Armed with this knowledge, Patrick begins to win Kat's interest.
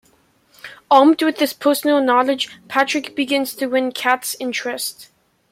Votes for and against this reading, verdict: 1, 2, rejected